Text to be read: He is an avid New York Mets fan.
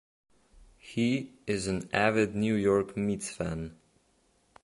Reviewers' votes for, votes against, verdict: 0, 2, rejected